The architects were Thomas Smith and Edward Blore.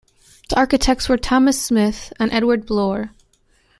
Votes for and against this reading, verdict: 2, 0, accepted